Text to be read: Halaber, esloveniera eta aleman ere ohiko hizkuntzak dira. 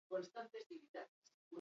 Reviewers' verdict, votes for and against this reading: rejected, 0, 2